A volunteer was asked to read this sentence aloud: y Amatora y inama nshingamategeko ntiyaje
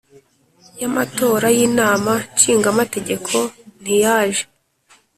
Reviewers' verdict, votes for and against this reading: accepted, 2, 0